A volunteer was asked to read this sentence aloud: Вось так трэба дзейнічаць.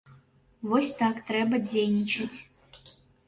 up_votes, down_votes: 2, 0